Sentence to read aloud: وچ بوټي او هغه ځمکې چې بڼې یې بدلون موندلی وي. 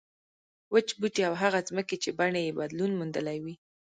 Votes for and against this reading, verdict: 0, 2, rejected